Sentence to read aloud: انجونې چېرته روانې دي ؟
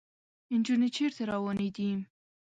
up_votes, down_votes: 2, 0